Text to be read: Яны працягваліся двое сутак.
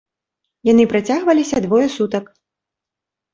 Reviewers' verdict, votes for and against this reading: accepted, 3, 0